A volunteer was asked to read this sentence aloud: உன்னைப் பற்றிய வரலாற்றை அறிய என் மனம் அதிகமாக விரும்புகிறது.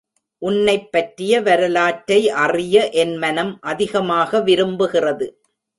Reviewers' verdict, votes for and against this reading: accepted, 2, 0